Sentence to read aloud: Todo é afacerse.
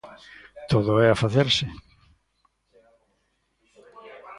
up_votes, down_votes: 1, 2